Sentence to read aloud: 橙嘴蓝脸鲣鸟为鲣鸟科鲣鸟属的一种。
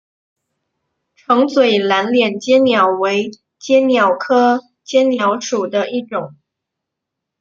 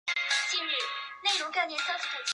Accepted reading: first